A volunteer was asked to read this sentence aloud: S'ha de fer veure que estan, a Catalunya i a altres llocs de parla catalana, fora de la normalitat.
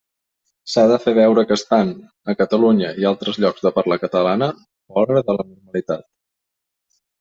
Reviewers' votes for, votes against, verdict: 1, 2, rejected